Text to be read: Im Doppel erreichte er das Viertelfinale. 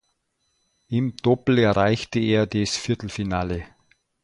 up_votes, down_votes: 0, 2